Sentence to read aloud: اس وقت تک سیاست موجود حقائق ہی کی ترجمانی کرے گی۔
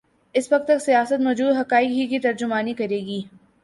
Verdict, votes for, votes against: accepted, 2, 0